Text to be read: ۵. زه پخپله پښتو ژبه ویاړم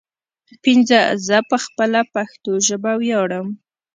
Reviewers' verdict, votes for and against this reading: rejected, 0, 2